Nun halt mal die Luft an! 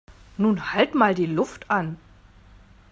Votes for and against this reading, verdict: 2, 0, accepted